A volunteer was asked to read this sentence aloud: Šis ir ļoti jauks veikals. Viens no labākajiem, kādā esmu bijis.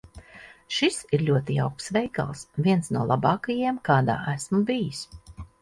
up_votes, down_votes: 2, 0